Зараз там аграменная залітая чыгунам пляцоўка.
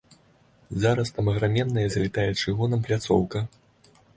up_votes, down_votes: 2, 0